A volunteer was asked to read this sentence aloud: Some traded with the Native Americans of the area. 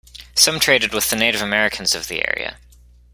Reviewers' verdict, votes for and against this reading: accepted, 2, 0